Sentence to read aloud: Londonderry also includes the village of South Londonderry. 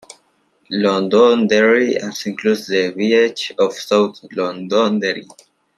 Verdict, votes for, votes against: rejected, 0, 2